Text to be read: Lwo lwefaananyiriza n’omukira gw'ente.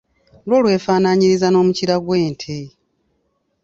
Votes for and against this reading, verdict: 2, 0, accepted